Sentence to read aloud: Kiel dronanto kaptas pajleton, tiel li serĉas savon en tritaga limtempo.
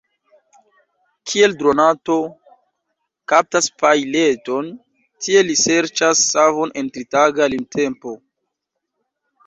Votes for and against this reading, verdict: 1, 2, rejected